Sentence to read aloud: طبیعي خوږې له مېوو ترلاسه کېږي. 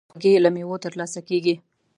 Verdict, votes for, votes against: rejected, 0, 2